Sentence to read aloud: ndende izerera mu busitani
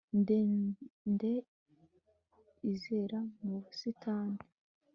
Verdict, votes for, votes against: rejected, 1, 2